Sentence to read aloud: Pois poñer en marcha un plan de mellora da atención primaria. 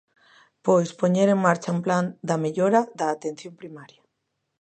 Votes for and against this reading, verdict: 1, 2, rejected